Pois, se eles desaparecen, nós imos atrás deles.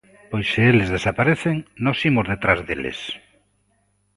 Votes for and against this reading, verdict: 1, 2, rejected